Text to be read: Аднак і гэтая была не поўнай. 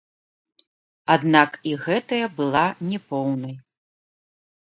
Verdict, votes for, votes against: rejected, 0, 3